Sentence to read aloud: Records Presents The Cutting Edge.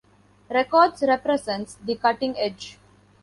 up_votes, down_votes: 0, 2